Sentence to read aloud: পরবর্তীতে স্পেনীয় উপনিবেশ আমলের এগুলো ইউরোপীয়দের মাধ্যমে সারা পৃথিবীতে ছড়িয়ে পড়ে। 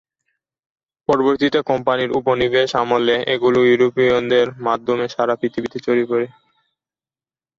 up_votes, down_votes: 0, 2